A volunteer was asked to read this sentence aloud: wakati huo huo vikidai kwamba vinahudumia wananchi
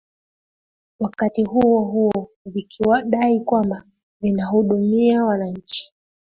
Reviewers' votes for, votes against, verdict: 2, 1, accepted